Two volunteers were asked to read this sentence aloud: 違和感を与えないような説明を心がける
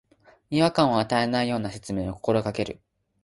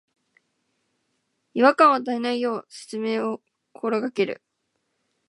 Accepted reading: first